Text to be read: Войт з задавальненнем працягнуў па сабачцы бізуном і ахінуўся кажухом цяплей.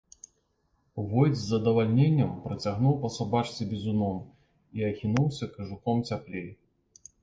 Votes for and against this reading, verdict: 2, 1, accepted